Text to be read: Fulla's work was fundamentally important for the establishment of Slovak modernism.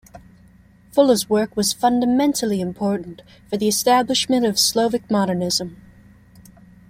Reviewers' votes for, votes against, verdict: 2, 0, accepted